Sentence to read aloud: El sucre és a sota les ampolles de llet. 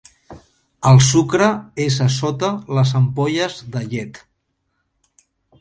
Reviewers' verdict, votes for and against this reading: accepted, 2, 0